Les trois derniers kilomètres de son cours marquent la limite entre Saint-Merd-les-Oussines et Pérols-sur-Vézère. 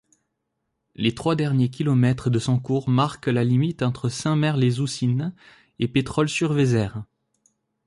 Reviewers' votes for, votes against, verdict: 0, 2, rejected